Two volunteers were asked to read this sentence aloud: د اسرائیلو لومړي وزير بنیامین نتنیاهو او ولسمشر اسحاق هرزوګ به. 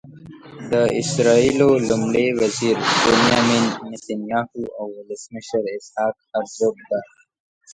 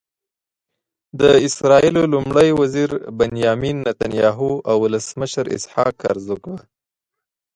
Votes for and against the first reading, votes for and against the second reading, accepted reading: 1, 2, 6, 1, second